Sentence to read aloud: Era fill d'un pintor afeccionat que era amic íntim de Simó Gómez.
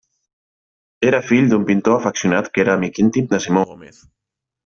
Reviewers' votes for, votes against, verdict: 1, 2, rejected